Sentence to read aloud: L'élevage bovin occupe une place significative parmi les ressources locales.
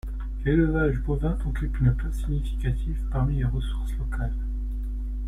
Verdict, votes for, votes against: rejected, 1, 2